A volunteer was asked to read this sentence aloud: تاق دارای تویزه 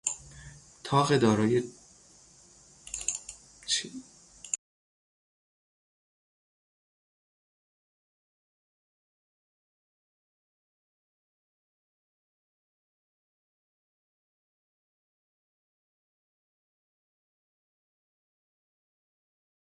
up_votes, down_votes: 0, 3